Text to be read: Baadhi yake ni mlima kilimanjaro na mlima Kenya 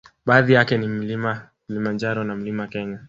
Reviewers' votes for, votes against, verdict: 3, 0, accepted